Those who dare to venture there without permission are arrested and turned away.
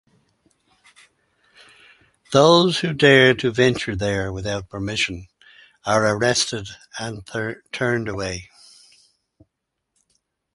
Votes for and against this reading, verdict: 0, 4, rejected